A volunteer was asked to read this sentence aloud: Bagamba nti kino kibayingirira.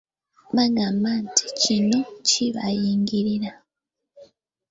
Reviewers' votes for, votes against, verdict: 0, 2, rejected